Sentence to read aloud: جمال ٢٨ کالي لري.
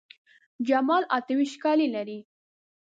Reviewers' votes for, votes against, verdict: 0, 2, rejected